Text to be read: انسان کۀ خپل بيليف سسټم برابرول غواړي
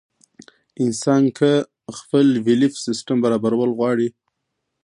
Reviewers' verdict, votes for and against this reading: rejected, 1, 2